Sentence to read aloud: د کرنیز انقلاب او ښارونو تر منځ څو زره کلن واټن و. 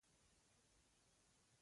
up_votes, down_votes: 2, 1